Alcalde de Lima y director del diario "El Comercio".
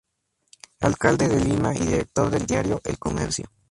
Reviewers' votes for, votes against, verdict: 2, 0, accepted